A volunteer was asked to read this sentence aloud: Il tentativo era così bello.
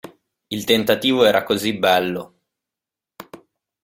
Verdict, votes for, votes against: accepted, 2, 0